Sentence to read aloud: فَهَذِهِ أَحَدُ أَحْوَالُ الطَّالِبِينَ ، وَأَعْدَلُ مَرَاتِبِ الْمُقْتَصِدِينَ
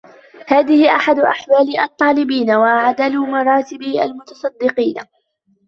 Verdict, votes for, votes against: rejected, 1, 2